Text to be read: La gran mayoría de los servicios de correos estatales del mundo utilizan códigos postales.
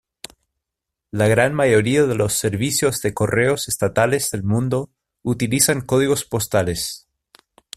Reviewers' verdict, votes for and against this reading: rejected, 1, 2